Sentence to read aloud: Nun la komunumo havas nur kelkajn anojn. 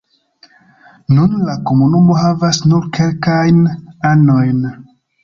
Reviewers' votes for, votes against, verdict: 2, 0, accepted